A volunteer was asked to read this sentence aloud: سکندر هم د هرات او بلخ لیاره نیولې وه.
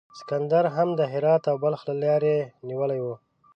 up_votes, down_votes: 2, 1